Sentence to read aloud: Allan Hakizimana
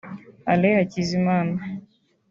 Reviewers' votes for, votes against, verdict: 3, 0, accepted